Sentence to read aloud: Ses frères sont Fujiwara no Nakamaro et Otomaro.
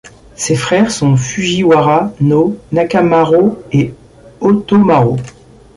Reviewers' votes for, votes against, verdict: 2, 0, accepted